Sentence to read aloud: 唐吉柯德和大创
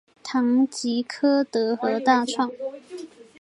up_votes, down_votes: 2, 0